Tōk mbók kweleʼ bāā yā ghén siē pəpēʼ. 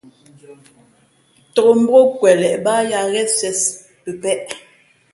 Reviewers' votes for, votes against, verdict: 3, 0, accepted